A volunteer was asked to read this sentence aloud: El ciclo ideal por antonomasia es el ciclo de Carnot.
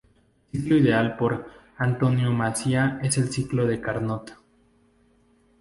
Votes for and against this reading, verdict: 0, 2, rejected